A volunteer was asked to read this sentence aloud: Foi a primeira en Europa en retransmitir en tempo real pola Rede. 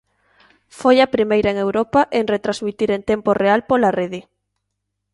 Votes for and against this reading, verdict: 2, 0, accepted